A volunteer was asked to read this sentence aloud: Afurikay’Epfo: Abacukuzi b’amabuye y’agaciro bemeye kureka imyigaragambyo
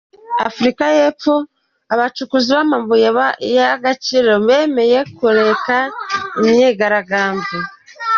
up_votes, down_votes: 1, 2